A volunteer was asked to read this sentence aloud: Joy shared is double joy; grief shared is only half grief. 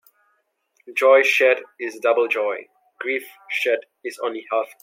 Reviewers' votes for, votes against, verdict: 0, 2, rejected